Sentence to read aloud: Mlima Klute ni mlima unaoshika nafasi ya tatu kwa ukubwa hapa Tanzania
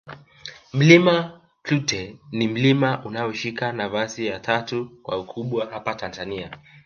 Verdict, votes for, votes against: accepted, 2, 1